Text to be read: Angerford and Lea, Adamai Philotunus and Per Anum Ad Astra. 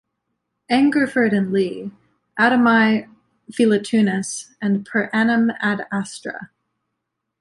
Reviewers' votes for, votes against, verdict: 2, 0, accepted